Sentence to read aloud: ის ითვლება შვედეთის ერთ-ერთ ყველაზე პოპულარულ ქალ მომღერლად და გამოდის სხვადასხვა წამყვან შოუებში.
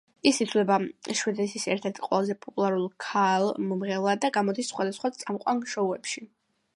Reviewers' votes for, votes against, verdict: 2, 0, accepted